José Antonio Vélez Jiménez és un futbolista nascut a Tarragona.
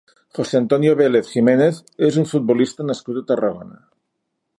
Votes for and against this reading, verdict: 2, 0, accepted